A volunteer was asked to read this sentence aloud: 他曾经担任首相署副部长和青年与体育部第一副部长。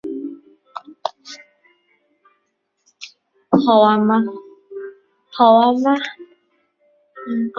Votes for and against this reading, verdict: 0, 2, rejected